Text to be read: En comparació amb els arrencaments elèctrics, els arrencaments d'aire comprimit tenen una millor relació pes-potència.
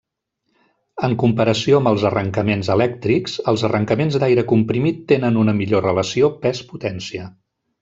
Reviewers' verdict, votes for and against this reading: accepted, 2, 0